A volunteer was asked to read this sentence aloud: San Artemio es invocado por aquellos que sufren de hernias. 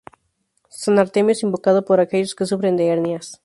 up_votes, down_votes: 4, 0